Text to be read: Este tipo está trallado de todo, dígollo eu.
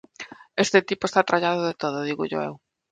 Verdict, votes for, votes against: accepted, 2, 0